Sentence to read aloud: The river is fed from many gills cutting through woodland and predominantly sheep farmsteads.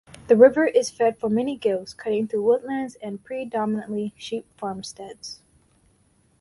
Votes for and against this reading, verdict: 4, 0, accepted